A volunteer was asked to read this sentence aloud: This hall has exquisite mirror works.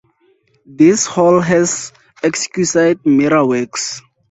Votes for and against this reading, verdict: 0, 4, rejected